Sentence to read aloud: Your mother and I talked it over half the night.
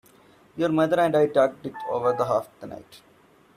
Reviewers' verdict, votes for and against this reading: rejected, 0, 2